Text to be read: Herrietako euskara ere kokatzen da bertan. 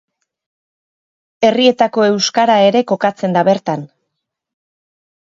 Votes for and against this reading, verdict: 2, 0, accepted